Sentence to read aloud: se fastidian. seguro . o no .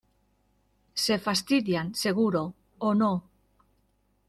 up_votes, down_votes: 2, 0